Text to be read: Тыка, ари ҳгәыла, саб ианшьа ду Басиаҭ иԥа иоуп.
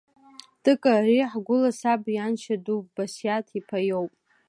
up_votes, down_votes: 2, 0